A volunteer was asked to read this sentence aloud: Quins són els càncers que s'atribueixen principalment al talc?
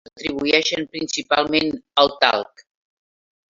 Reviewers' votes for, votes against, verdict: 0, 3, rejected